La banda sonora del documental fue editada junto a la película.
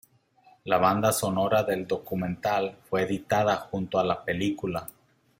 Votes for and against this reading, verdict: 2, 0, accepted